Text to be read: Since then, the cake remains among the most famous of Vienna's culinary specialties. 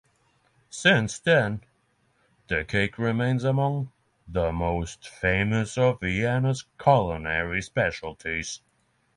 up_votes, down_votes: 3, 0